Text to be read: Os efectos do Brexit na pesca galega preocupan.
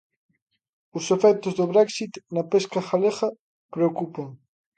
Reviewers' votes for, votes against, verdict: 2, 1, accepted